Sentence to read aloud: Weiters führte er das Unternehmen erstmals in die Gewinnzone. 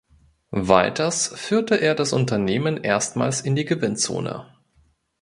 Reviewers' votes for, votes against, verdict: 2, 0, accepted